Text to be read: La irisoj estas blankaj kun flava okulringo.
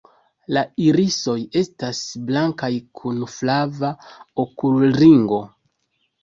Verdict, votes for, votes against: accepted, 2, 0